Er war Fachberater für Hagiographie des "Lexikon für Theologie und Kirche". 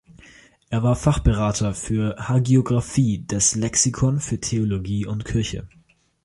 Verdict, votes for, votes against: accepted, 2, 0